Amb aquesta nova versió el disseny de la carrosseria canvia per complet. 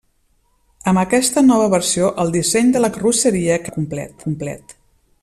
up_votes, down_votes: 0, 2